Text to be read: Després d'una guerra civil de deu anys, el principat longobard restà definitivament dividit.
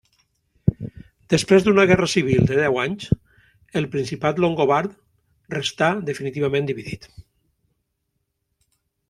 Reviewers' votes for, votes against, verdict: 3, 0, accepted